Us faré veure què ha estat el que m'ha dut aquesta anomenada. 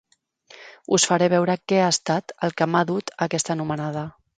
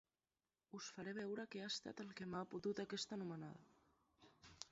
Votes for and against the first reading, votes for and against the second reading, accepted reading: 3, 0, 0, 2, first